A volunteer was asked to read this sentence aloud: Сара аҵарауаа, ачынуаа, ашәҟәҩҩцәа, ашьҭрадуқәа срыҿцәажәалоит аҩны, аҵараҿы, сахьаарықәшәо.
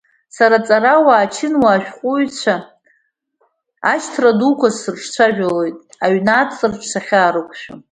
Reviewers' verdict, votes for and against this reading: accepted, 2, 0